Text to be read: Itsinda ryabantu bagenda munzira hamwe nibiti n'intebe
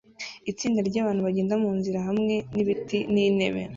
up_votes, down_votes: 2, 0